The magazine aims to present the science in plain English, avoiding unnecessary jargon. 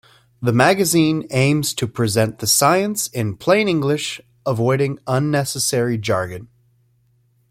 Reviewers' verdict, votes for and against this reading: accepted, 2, 0